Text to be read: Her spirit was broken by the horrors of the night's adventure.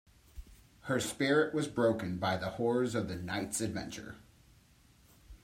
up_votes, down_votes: 2, 0